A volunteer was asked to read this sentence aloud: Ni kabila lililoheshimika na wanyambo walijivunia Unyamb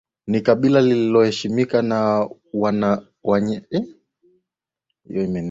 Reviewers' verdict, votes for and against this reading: rejected, 0, 2